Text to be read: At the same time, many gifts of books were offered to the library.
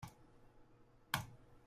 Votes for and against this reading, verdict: 0, 2, rejected